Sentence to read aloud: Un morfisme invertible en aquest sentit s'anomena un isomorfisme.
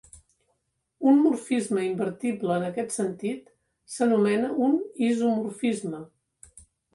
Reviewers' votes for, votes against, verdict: 3, 1, accepted